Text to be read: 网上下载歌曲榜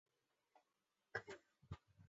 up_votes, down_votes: 0, 2